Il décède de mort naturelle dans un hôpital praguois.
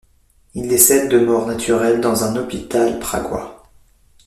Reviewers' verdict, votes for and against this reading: accepted, 2, 0